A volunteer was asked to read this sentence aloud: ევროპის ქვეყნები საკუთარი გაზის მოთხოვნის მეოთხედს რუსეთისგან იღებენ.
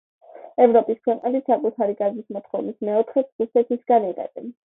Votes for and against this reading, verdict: 2, 0, accepted